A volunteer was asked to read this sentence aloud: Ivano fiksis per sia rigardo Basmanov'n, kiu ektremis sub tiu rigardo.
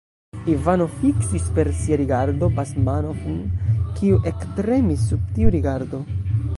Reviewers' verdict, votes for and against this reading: rejected, 0, 2